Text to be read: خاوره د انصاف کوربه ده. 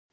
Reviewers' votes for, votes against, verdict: 0, 2, rejected